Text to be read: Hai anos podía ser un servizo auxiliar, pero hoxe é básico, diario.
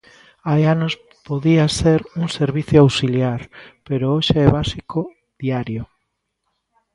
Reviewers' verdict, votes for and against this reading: rejected, 0, 2